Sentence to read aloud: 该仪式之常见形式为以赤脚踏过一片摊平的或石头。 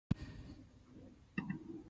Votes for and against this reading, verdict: 0, 2, rejected